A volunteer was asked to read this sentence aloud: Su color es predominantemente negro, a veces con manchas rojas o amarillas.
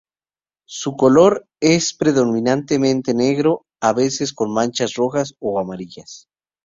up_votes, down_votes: 4, 0